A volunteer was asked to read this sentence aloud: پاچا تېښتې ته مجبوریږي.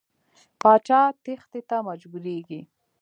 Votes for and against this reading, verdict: 1, 2, rejected